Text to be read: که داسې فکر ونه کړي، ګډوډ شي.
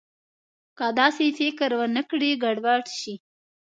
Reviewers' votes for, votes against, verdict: 2, 0, accepted